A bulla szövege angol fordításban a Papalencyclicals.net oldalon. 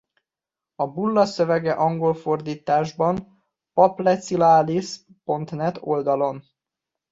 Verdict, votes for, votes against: rejected, 0, 2